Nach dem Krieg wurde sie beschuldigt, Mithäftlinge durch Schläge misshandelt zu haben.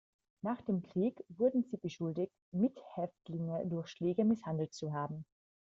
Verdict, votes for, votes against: accepted, 2, 1